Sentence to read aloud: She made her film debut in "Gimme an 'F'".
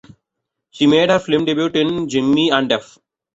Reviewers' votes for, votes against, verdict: 2, 1, accepted